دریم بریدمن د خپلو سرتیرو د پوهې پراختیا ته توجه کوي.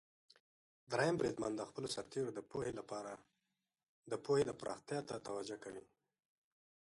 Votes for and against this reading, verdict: 1, 2, rejected